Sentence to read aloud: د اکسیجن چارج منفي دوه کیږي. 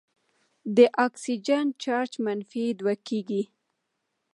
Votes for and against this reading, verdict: 0, 2, rejected